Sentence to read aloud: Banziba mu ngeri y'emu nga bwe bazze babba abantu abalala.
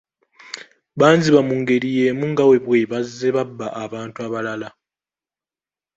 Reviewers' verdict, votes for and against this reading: accepted, 2, 0